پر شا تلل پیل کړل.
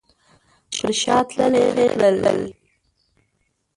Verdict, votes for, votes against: rejected, 1, 2